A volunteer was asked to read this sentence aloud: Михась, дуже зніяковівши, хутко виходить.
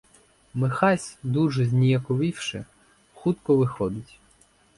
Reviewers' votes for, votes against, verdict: 4, 0, accepted